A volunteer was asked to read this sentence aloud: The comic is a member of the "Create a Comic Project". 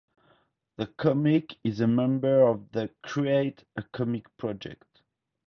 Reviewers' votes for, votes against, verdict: 2, 0, accepted